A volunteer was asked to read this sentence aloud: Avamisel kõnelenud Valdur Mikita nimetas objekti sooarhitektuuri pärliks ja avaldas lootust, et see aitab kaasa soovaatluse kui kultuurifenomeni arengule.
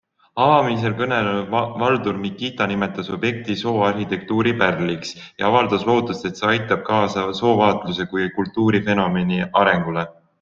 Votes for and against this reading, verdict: 2, 0, accepted